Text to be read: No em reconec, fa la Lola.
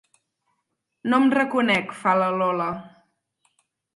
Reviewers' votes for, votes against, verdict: 4, 0, accepted